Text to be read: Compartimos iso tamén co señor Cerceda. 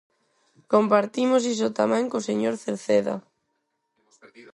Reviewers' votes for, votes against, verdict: 2, 4, rejected